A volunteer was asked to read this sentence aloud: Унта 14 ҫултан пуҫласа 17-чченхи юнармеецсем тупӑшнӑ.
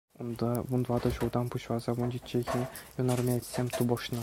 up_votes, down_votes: 0, 2